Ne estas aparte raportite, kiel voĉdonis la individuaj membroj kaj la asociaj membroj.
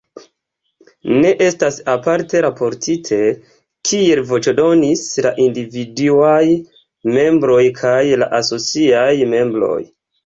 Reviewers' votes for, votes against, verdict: 2, 0, accepted